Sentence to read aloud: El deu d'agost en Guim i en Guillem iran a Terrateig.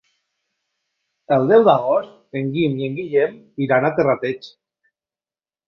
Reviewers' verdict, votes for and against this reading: accepted, 2, 0